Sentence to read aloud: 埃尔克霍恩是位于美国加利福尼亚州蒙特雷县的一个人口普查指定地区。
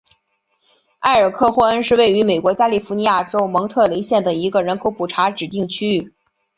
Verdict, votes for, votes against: accepted, 7, 0